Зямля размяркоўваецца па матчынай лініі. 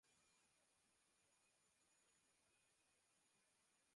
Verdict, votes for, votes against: rejected, 0, 2